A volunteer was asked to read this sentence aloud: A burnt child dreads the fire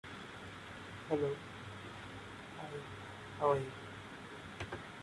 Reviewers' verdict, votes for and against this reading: rejected, 0, 2